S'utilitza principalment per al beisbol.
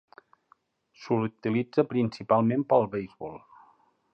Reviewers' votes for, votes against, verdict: 0, 2, rejected